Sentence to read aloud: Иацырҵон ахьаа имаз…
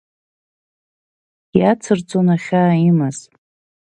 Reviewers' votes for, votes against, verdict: 2, 0, accepted